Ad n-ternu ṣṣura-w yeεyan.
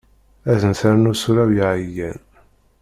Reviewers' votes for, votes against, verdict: 0, 2, rejected